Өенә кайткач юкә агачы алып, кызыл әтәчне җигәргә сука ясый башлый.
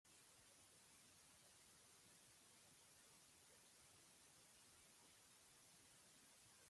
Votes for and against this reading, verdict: 0, 2, rejected